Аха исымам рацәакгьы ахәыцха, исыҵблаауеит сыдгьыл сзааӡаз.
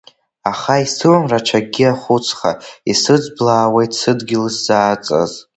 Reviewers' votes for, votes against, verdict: 1, 3, rejected